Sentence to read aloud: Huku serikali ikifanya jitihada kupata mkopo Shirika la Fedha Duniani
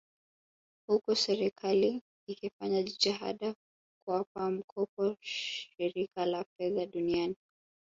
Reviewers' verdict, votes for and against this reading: rejected, 0, 2